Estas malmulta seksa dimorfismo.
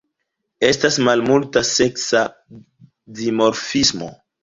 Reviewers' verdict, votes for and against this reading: rejected, 1, 2